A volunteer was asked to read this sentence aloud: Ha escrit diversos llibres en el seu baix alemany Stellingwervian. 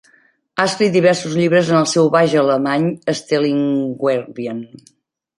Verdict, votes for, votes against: accepted, 2, 0